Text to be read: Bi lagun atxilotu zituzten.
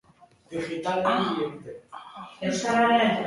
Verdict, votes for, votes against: rejected, 0, 2